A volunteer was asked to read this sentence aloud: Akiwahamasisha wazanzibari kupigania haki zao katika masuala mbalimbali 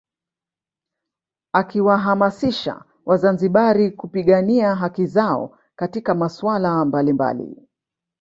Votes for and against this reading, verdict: 1, 2, rejected